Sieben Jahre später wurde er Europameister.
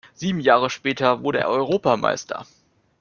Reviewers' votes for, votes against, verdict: 2, 0, accepted